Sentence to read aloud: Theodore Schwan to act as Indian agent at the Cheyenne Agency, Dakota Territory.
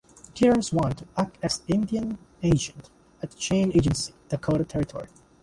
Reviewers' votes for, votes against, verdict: 0, 2, rejected